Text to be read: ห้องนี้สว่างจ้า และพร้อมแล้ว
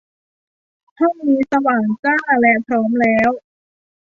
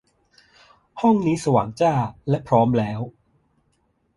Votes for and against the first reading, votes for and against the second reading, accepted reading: 0, 2, 2, 0, second